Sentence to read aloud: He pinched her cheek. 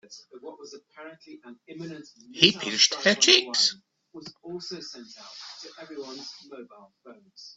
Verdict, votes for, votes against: rejected, 0, 2